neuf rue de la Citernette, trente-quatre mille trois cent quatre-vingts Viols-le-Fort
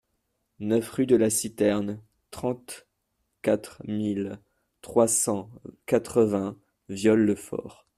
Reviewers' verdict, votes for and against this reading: rejected, 0, 2